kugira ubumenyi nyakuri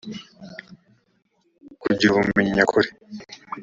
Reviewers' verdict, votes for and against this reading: accepted, 2, 0